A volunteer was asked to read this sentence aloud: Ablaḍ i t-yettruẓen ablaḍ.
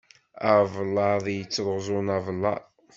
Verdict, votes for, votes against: rejected, 1, 2